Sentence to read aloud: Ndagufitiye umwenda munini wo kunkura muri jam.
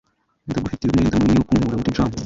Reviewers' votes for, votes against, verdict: 1, 2, rejected